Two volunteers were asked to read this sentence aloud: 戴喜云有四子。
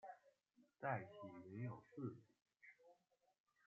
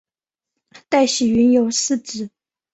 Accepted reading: second